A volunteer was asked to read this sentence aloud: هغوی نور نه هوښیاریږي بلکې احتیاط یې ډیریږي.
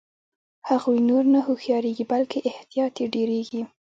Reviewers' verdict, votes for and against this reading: accepted, 2, 0